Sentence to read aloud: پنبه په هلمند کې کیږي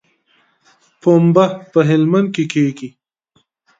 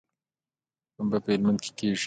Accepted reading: first